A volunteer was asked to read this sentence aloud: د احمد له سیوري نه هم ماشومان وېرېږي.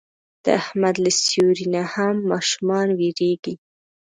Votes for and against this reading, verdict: 1, 2, rejected